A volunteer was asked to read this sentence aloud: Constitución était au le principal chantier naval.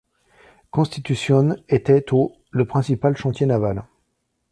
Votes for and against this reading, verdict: 2, 0, accepted